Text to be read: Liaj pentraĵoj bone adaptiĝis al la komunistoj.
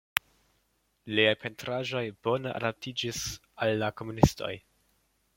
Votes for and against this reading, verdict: 2, 0, accepted